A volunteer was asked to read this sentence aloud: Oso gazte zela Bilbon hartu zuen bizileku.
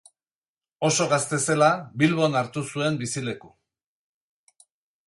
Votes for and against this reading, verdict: 2, 0, accepted